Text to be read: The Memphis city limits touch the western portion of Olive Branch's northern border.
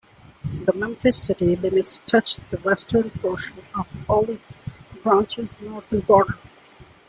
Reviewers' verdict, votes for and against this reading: rejected, 0, 2